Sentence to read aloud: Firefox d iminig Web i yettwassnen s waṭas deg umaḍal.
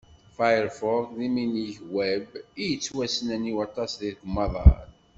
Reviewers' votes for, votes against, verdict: 1, 2, rejected